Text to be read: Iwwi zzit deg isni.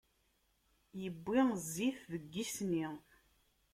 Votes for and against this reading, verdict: 1, 2, rejected